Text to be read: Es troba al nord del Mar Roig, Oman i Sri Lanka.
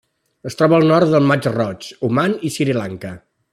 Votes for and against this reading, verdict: 2, 0, accepted